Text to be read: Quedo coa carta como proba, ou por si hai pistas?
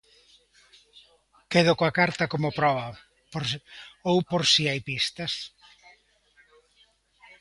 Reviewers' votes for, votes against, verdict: 1, 2, rejected